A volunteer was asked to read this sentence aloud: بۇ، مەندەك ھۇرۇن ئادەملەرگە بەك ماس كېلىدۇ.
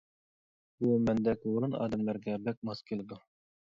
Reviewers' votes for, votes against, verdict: 2, 0, accepted